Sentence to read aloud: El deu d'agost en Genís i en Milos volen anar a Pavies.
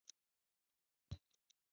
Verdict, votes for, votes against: rejected, 0, 2